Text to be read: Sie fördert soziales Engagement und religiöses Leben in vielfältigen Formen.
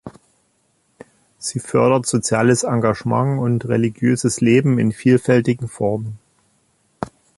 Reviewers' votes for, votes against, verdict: 2, 0, accepted